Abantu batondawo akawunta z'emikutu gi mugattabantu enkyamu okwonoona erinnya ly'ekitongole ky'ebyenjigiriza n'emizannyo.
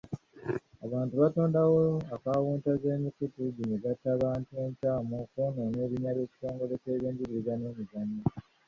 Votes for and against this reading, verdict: 1, 2, rejected